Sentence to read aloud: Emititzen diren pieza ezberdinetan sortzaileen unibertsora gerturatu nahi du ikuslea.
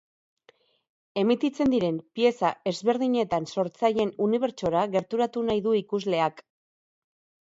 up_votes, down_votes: 0, 2